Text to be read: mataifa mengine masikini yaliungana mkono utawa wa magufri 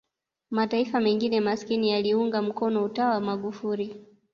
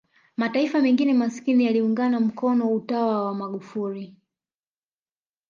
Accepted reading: second